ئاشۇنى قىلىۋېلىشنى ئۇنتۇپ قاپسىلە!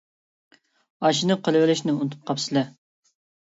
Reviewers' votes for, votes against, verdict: 2, 0, accepted